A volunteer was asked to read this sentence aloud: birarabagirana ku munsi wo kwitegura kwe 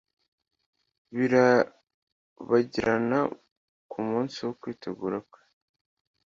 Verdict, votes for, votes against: rejected, 1, 2